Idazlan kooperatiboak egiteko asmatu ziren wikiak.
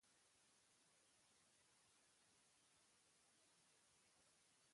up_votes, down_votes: 0, 2